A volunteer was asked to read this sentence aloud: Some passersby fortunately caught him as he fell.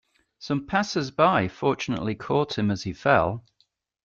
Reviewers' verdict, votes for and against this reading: accepted, 2, 0